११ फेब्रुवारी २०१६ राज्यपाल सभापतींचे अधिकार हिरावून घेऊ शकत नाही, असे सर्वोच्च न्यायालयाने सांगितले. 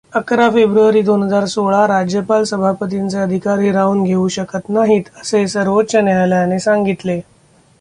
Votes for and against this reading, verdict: 0, 2, rejected